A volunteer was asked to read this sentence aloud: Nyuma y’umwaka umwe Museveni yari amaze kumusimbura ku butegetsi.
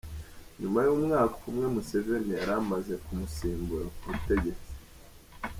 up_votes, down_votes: 2, 0